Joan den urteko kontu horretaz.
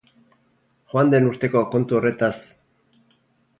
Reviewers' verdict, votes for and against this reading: rejected, 2, 2